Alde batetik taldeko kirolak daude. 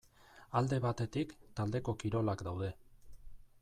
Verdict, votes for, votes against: accepted, 3, 0